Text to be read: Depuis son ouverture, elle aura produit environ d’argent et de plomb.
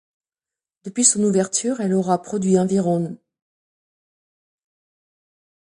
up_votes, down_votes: 0, 2